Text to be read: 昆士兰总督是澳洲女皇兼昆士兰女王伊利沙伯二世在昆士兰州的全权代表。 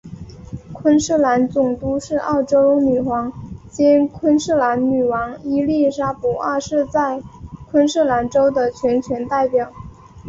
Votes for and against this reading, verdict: 4, 0, accepted